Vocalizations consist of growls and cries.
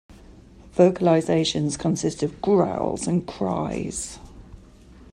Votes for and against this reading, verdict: 2, 0, accepted